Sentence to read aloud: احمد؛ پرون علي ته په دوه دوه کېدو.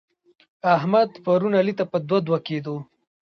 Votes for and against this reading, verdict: 1, 2, rejected